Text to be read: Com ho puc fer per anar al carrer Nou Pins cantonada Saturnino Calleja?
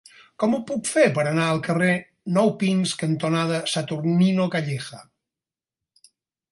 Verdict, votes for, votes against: accepted, 6, 0